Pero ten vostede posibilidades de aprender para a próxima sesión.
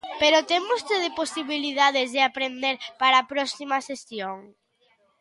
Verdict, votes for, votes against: accepted, 3, 0